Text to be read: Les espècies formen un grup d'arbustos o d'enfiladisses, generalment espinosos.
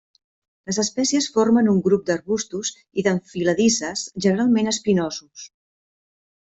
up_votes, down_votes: 1, 2